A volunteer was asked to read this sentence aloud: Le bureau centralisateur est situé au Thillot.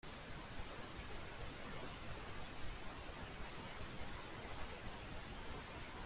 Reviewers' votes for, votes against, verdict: 0, 2, rejected